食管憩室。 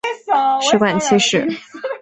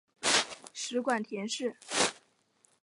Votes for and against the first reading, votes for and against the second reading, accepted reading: 6, 0, 1, 2, first